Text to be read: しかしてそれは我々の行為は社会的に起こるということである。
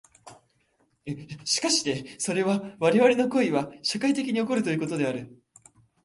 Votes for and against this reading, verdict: 2, 0, accepted